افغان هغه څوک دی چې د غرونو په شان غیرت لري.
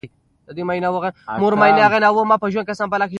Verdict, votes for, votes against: rejected, 1, 2